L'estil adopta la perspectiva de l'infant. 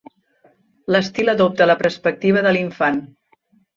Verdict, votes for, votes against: rejected, 1, 2